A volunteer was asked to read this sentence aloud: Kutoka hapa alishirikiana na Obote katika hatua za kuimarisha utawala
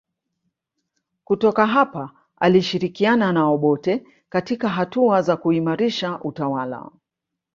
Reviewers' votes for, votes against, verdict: 0, 2, rejected